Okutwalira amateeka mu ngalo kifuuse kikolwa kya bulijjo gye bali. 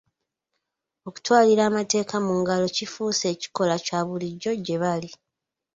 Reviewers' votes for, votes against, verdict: 1, 2, rejected